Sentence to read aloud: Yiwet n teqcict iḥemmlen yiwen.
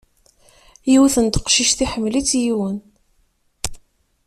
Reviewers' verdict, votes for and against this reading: rejected, 0, 2